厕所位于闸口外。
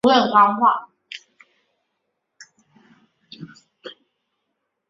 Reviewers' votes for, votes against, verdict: 0, 2, rejected